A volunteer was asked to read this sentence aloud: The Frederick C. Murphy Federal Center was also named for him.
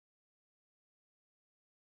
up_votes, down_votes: 0, 2